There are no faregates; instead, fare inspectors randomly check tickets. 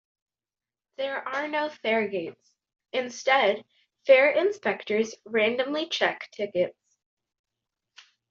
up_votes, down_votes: 2, 1